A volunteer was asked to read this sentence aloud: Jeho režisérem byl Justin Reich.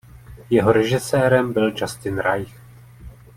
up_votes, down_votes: 1, 2